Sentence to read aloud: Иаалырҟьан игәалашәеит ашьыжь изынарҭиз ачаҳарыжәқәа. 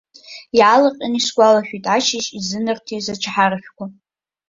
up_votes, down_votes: 0, 2